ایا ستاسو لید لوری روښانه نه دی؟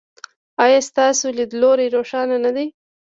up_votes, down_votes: 2, 0